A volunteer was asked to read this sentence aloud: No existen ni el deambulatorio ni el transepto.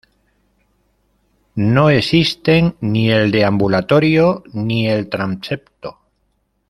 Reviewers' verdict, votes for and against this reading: rejected, 1, 2